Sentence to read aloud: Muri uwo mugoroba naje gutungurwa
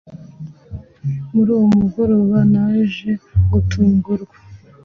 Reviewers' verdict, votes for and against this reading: accepted, 2, 0